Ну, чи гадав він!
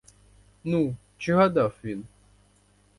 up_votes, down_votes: 4, 0